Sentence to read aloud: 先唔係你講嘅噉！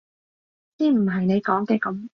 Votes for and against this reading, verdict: 2, 0, accepted